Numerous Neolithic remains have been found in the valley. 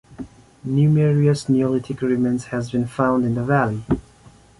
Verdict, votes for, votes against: rejected, 1, 2